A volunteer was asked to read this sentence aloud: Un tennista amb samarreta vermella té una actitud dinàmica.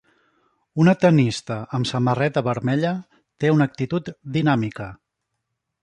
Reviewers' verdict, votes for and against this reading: rejected, 0, 2